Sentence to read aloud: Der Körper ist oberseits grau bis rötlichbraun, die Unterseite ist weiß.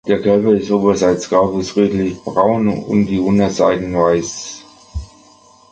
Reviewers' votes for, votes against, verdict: 0, 2, rejected